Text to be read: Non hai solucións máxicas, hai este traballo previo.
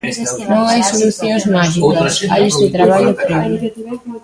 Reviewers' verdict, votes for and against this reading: rejected, 0, 2